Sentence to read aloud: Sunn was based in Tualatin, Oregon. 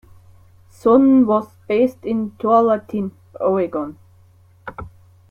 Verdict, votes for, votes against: rejected, 0, 2